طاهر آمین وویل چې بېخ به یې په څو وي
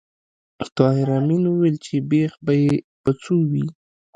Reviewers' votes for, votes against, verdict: 1, 2, rejected